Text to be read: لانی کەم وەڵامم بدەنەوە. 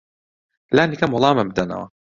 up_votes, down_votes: 2, 0